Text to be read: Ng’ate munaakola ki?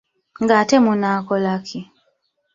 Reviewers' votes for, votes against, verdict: 1, 2, rejected